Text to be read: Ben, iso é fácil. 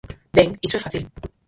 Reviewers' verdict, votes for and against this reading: rejected, 2, 4